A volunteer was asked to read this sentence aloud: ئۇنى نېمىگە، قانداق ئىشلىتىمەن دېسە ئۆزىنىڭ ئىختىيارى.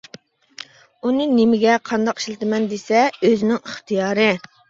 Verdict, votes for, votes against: accepted, 2, 0